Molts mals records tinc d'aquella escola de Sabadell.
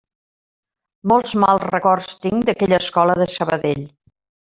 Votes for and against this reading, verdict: 3, 0, accepted